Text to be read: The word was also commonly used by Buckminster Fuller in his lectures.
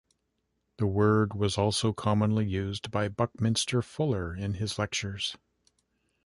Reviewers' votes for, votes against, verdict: 3, 0, accepted